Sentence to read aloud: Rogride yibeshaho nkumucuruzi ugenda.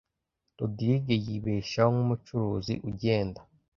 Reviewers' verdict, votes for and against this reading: accepted, 2, 0